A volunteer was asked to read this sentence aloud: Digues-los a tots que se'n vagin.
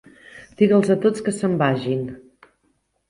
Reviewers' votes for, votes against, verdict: 1, 3, rejected